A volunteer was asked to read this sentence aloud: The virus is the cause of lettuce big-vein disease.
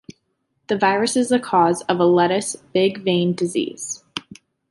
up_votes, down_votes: 2, 3